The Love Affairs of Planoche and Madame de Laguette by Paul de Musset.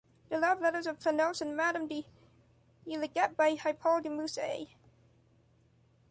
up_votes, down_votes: 1, 2